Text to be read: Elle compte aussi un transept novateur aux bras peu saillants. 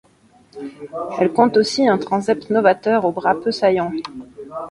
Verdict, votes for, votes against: rejected, 1, 2